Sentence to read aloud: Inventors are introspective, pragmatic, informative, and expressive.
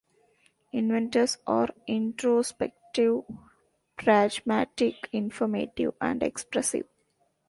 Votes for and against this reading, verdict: 1, 2, rejected